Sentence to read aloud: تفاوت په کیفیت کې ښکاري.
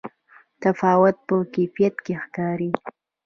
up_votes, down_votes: 2, 0